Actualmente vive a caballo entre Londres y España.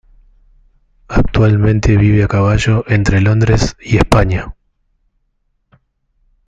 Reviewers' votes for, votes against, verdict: 2, 1, accepted